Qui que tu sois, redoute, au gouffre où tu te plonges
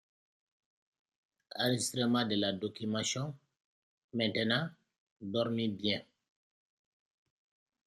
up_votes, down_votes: 0, 2